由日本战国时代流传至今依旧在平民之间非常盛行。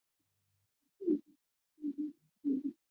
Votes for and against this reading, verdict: 0, 2, rejected